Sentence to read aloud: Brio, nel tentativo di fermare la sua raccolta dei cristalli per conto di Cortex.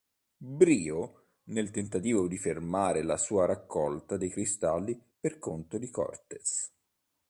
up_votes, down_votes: 2, 0